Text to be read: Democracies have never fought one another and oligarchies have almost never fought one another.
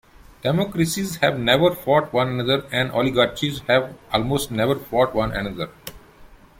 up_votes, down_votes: 0, 2